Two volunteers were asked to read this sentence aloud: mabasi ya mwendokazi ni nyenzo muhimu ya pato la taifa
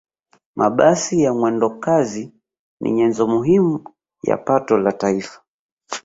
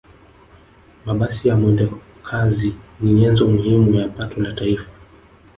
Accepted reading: first